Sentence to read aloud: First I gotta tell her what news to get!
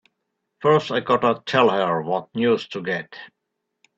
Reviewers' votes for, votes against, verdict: 3, 0, accepted